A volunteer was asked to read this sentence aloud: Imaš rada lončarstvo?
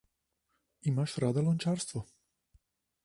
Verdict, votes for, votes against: accepted, 2, 0